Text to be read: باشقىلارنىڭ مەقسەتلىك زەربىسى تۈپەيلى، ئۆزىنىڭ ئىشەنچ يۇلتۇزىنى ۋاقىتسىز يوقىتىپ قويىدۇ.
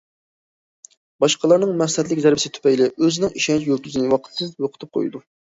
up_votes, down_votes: 2, 0